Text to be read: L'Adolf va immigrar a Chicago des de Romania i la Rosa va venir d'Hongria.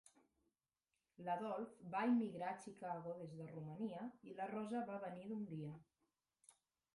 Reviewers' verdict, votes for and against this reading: rejected, 1, 2